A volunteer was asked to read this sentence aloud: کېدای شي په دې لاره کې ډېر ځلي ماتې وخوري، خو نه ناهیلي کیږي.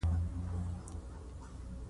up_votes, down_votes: 2, 0